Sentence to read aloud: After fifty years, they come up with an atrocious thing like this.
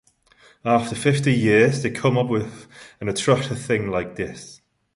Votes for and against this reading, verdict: 1, 2, rejected